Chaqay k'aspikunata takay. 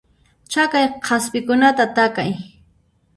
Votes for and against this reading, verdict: 0, 2, rejected